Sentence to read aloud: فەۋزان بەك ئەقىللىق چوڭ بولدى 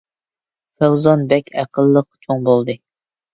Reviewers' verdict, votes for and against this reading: rejected, 1, 2